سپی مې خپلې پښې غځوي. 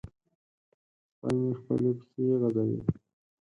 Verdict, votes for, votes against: rejected, 0, 4